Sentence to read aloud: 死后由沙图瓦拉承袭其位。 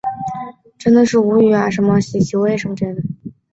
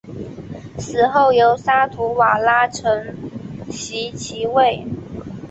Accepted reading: second